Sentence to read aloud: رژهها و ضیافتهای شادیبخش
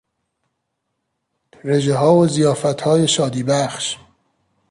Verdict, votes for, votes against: accepted, 2, 0